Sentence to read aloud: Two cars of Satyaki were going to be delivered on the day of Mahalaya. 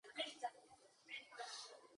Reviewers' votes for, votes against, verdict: 4, 0, accepted